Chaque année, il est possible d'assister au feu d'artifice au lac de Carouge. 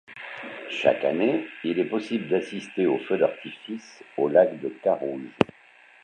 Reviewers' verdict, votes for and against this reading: rejected, 0, 2